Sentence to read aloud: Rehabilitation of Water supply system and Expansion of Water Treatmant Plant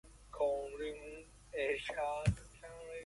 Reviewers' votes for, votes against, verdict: 0, 2, rejected